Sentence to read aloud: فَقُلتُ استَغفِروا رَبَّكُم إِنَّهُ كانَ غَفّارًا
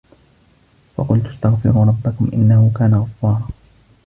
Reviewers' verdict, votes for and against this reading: rejected, 0, 2